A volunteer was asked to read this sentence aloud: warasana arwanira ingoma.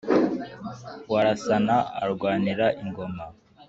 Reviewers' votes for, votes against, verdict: 2, 1, accepted